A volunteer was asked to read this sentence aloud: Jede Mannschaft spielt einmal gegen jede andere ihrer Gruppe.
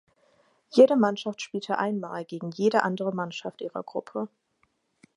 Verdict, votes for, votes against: rejected, 2, 4